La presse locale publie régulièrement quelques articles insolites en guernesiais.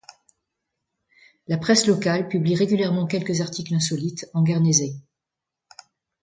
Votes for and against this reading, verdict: 1, 2, rejected